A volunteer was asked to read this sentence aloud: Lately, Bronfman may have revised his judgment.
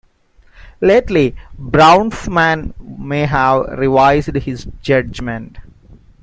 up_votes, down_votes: 1, 2